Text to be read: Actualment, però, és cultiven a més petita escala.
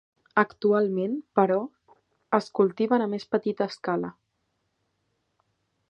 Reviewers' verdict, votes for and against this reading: accepted, 3, 0